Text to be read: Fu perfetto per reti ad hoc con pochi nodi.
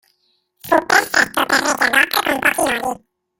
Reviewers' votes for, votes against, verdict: 0, 2, rejected